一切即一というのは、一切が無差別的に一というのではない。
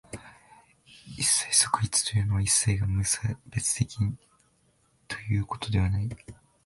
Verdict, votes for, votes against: rejected, 0, 2